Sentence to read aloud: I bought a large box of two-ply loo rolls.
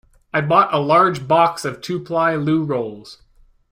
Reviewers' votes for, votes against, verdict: 2, 0, accepted